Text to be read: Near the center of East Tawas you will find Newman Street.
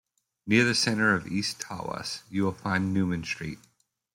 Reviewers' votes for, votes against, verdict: 0, 2, rejected